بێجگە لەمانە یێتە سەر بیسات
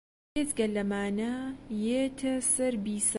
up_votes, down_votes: 2, 0